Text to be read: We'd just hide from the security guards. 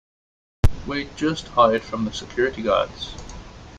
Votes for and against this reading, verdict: 2, 0, accepted